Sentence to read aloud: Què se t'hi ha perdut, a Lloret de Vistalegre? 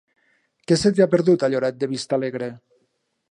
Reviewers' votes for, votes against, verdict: 3, 0, accepted